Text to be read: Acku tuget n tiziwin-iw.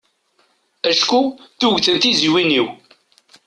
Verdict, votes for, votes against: accepted, 2, 1